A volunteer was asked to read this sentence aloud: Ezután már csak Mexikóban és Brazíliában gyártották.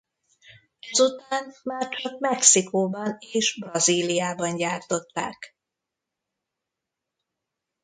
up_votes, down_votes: 0, 2